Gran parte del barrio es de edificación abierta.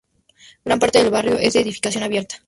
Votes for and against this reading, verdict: 0, 2, rejected